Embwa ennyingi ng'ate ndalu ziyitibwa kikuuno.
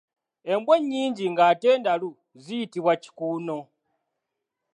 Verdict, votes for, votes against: accepted, 2, 0